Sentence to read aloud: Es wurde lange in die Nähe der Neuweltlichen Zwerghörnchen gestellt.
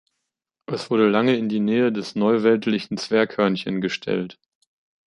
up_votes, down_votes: 1, 2